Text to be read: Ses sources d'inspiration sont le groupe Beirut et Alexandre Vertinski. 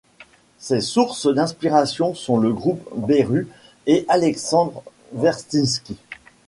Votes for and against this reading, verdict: 1, 2, rejected